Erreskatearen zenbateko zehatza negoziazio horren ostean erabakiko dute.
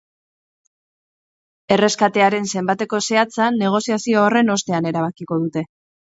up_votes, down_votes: 4, 0